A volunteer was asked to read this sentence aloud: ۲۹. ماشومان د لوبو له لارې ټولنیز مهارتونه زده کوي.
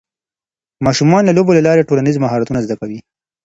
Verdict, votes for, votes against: rejected, 0, 2